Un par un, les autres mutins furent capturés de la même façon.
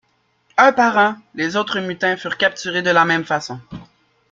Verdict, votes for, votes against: accepted, 2, 0